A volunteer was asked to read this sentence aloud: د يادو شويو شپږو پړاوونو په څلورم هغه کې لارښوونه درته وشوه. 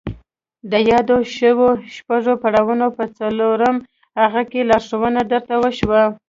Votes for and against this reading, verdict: 2, 1, accepted